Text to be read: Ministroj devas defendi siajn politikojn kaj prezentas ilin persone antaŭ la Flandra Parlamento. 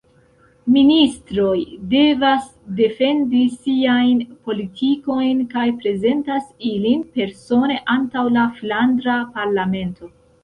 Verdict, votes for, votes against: rejected, 1, 2